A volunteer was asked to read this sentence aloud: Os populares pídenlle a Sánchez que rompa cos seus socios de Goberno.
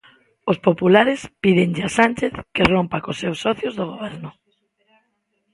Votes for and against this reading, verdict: 1, 2, rejected